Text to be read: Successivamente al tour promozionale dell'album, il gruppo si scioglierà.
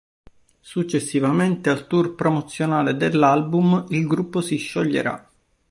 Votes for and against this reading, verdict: 2, 0, accepted